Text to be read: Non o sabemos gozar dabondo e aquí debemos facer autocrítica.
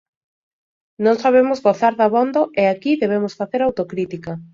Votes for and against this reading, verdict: 0, 2, rejected